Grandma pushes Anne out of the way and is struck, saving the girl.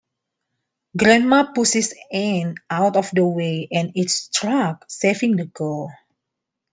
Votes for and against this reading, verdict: 1, 2, rejected